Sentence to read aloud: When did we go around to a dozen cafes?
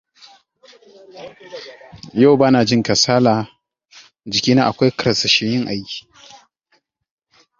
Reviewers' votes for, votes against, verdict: 0, 2, rejected